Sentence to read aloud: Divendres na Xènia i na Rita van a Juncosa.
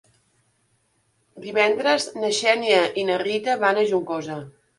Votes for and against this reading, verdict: 2, 0, accepted